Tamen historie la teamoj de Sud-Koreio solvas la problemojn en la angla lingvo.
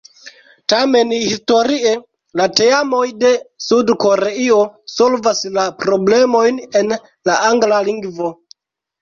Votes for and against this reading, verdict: 0, 2, rejected